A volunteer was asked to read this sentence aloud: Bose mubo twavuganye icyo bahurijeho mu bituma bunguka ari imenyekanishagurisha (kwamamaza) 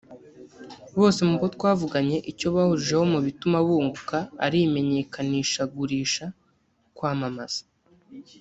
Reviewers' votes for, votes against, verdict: 0, 2, rejected